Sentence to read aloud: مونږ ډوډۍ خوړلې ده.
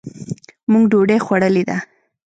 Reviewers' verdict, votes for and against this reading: rejected, 1, 2